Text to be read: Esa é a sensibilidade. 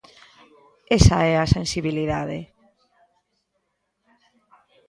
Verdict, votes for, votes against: rejected, 1, 2